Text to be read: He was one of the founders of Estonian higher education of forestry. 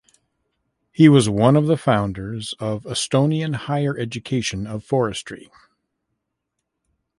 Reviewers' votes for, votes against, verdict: 1, 2, rejected